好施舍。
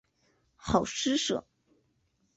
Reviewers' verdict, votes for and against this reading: accepted, 2, 1